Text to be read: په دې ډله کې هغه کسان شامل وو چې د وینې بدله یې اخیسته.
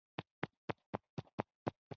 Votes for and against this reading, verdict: 0, 2, rejected